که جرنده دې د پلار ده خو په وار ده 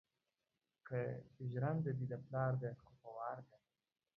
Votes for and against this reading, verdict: 2, 1, accepted